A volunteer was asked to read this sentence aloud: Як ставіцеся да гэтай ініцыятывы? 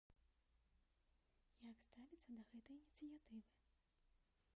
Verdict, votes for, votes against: rejected, 0, 2